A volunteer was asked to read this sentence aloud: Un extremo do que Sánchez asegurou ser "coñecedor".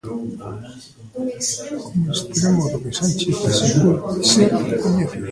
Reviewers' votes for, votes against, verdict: 0, 2, rejected